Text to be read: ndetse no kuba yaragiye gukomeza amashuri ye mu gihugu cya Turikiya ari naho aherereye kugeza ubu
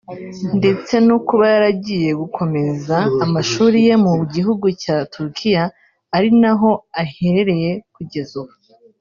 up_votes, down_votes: 2, 0